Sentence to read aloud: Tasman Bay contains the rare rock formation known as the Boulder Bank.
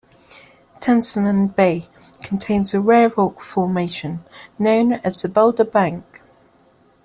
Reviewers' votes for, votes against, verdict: 2, 0, accepted